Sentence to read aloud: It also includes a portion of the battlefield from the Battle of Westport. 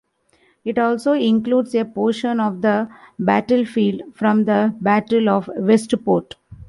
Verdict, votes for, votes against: accepted, 2, 0